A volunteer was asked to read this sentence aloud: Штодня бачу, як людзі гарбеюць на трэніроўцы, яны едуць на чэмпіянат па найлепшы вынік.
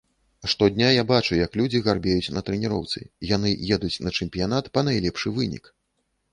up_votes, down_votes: 1, 2